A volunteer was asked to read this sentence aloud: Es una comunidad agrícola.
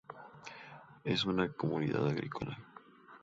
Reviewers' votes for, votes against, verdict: 2, 0, accepted